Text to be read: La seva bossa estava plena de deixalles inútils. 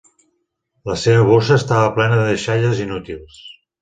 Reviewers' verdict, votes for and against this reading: accepted, 2, 0